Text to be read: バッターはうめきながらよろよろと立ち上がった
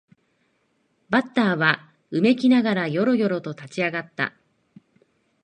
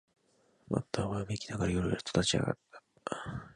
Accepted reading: first